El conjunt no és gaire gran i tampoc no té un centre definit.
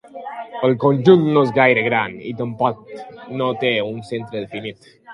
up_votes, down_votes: 1, 2